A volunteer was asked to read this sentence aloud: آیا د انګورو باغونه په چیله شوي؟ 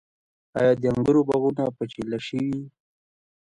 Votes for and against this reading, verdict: 2, 1, accepted